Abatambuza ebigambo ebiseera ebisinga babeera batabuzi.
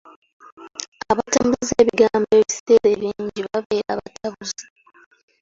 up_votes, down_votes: 1, 2